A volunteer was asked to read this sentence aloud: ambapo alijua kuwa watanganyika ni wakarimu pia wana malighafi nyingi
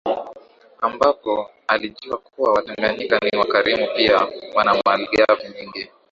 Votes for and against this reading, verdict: 0, 2, rejected